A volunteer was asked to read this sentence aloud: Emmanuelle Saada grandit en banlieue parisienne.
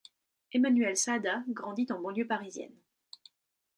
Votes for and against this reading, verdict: 2, 0, accepted